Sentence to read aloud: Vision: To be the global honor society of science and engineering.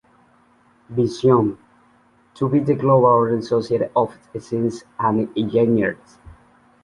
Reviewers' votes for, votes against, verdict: 0, 2, rejected